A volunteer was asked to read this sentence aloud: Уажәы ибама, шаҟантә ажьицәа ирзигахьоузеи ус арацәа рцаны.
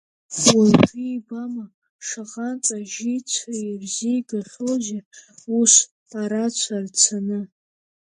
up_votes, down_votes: 2, 5